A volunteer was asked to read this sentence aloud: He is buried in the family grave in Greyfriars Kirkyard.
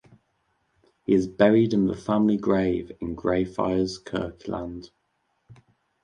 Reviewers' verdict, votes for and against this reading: rejected, 0, 2